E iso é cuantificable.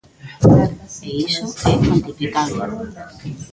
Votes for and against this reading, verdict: 1, 2, rejected